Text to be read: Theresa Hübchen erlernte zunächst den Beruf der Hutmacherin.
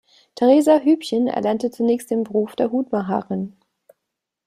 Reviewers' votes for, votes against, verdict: 3, 0, accepted